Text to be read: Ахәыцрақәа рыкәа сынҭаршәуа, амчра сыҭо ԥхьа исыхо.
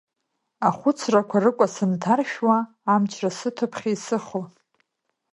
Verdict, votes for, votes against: accepted, 2, 0